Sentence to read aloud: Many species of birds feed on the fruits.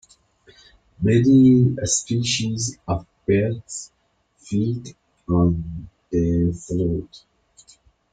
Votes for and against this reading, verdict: 2, 1, accepted